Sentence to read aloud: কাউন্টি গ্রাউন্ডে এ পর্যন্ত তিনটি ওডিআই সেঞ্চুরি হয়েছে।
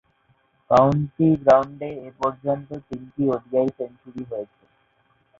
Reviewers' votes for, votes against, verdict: 2, 0, accepted